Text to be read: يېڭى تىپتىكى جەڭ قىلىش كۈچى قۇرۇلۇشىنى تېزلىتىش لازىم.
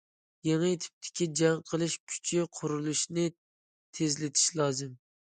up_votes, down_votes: 2, 0